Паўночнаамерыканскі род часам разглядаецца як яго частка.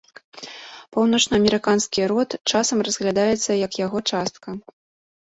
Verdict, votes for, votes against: accepted, 2, 0